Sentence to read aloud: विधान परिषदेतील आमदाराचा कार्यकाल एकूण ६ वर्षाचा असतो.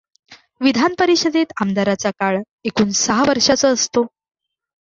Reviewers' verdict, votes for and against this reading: rejected, 0, 2